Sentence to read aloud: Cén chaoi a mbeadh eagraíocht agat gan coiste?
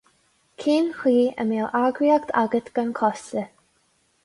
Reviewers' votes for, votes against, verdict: 0, 2, rejected